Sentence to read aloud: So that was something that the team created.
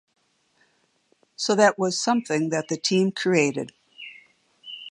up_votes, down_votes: 3, 0